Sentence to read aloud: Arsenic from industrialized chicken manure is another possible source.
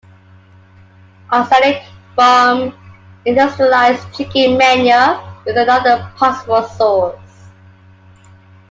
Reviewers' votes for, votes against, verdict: 2, 0, accepted